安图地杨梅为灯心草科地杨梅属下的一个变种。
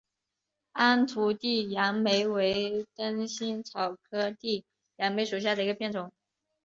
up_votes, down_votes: 3, 0